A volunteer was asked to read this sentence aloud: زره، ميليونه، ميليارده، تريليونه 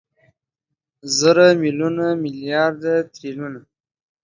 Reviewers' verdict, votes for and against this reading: accepted, 2, 0